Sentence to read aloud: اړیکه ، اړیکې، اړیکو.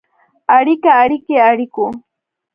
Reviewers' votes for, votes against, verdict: 2, 0, accepted